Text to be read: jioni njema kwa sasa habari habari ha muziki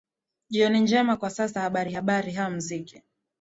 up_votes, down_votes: 2, 0